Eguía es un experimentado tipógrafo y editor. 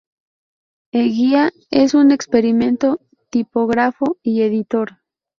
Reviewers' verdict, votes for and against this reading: rejected, 0, 2